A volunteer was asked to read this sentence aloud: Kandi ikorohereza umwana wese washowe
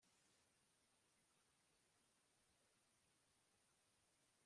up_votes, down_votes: 0, 2